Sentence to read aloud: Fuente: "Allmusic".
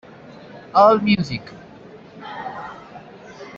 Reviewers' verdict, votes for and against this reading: rejected, 0, 2